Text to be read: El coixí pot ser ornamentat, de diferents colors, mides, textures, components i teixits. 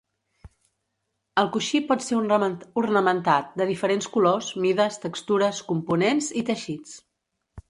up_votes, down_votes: 0, 2